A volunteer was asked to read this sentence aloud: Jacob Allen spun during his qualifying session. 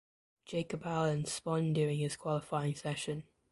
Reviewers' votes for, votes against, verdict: 0, 2, rejected